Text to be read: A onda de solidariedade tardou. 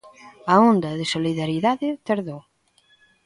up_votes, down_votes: 1, 2